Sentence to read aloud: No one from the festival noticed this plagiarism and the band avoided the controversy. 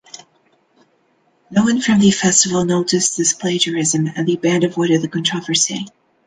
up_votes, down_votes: 2, 0